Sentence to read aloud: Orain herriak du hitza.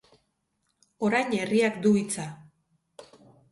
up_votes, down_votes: 4, 0